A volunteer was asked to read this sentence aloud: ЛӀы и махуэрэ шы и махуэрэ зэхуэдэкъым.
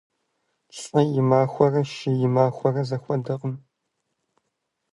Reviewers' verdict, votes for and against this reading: accepted, 2, 0